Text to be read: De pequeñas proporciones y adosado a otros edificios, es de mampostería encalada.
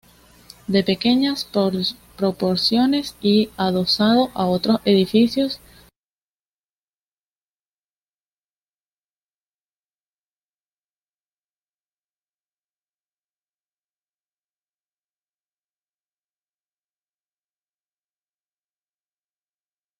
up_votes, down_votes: 0, 2